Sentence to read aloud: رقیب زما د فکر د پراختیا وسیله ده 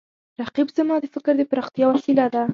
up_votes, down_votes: 2, 0